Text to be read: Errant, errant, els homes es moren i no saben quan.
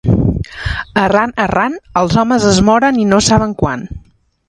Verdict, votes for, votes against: accepted, 2, 0